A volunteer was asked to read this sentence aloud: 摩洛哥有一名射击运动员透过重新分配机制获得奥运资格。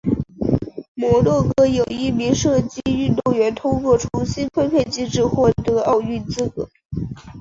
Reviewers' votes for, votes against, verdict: 3, 0, accepted